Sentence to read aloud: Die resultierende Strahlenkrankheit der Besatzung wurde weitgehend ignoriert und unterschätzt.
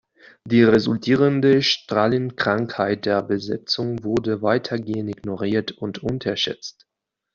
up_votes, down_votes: 1, 2